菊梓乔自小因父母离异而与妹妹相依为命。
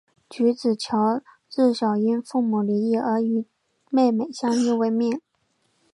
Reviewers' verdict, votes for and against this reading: rejected, 1, 2